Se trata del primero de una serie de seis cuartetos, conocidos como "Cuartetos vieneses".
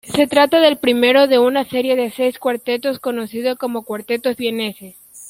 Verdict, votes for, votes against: rejected, 0, 2